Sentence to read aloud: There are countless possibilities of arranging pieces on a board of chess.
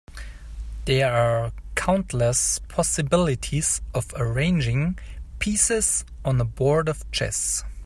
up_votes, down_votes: 3, 0